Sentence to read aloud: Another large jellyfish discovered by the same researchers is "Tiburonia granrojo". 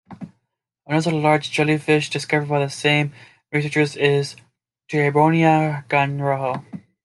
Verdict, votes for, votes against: accepted, 2, 0